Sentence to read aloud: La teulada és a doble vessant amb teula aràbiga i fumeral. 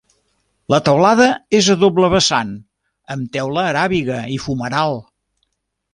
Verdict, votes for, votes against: accepted, 3, 0